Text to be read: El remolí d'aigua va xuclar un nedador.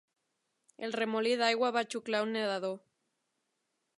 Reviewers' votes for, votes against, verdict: 3, 0, accepted